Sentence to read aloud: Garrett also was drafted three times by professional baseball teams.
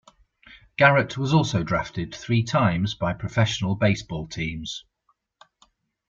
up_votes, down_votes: 1, 2